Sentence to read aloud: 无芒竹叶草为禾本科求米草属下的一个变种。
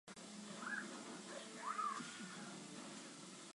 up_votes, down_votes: 0, 3